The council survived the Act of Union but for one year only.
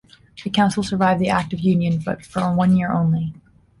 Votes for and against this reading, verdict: 2, 0, accepted